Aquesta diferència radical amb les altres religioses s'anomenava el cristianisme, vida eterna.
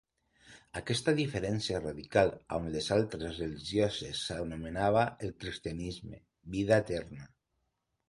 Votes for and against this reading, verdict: 0, 2, rejected